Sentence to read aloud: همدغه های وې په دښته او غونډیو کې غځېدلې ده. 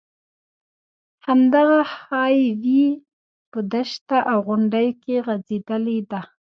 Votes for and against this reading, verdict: 0, 2, rejected